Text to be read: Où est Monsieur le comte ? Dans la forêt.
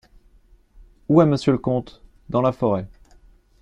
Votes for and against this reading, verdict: 2, 1, accepted